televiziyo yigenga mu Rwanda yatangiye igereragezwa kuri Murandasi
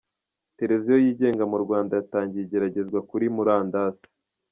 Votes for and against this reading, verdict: 2, 0, accepted